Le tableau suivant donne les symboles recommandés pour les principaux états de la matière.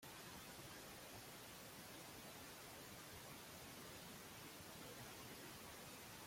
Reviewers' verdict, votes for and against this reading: rejected, 0, 2